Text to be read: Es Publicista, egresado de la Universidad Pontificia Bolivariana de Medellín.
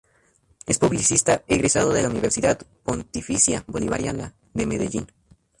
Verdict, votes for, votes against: accepted, 2, 0